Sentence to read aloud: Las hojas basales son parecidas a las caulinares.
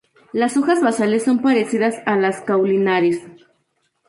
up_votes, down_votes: 4, 0